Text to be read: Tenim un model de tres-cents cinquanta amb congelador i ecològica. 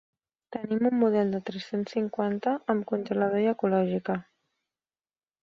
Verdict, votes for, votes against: rejected, 1, 2